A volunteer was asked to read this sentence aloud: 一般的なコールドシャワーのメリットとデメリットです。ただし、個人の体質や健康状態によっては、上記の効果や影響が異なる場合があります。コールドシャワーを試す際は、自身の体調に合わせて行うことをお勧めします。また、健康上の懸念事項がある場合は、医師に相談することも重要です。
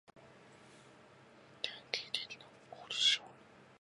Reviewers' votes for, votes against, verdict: 0, 2, rejected